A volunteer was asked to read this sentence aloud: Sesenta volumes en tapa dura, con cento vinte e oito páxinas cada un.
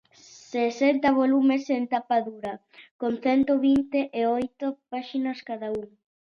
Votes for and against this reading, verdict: 2, 0, accepted